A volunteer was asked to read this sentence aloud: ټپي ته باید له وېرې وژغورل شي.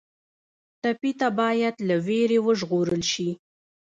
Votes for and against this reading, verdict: 0, 2, rejected